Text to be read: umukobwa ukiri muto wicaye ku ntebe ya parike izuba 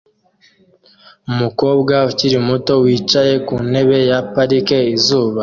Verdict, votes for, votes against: accepted, 2, 0